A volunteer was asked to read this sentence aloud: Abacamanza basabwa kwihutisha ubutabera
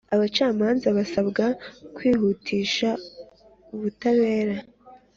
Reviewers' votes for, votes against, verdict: 3, 0, accepted